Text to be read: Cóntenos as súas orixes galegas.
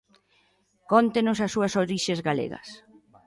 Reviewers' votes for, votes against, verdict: 2, 0, accepted